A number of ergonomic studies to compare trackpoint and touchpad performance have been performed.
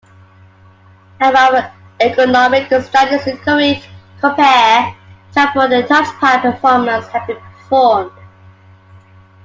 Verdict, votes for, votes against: rejected, 0, 2